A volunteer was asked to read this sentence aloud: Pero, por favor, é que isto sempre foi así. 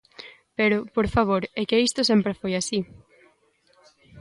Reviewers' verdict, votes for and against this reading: accepted, 2, 0